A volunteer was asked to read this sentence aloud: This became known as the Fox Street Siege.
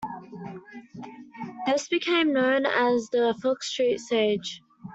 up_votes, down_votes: 2, 0